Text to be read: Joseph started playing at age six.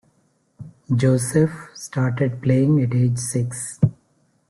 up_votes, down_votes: 2, 0